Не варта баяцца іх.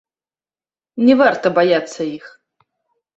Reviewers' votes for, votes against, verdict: 1, 2, rejected